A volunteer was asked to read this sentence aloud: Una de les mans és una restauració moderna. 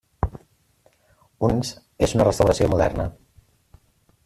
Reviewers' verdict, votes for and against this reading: rejected, 0, 2